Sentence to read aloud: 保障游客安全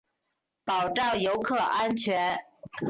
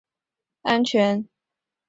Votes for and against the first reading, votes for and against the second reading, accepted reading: 3, 0, 0, 2, first